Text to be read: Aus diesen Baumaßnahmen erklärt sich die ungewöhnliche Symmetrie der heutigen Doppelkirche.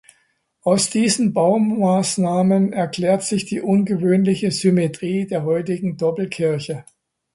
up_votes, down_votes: 1, 2